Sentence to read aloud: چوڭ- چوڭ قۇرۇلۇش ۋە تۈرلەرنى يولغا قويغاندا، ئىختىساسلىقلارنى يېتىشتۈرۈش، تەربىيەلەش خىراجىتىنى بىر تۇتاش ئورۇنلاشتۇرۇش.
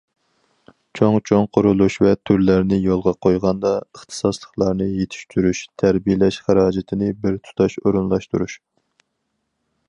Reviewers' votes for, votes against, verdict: 4, 2, accepted